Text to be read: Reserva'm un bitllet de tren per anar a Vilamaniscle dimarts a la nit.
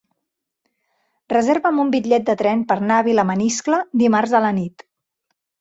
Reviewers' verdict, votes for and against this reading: accepted, 3, 0